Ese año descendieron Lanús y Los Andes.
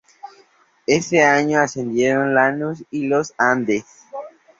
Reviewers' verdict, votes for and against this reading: rejected, 0, 2